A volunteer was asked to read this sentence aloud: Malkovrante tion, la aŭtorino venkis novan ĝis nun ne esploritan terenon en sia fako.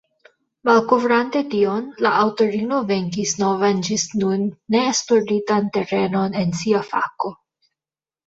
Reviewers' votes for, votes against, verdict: 2, 1, accepted